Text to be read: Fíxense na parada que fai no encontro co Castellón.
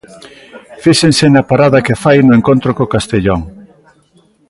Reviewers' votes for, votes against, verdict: 1, 2, rejected